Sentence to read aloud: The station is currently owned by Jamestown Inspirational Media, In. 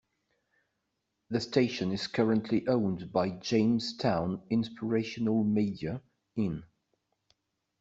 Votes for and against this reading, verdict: 2, 0, accepted